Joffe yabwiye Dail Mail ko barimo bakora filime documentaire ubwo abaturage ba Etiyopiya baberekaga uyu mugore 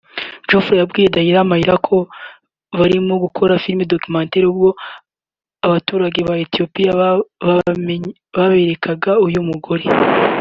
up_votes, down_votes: 2, 0